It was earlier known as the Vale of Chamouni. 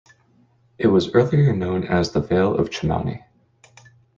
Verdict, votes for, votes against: accepted, 2, 0